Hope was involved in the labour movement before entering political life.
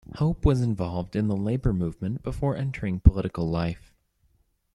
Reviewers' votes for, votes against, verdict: 2, 1, accepted